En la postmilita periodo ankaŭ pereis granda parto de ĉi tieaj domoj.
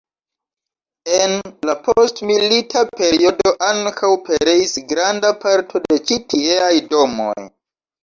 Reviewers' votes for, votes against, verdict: 2, 1, accepted